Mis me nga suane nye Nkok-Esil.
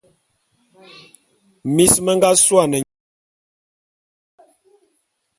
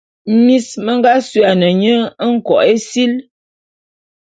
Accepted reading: second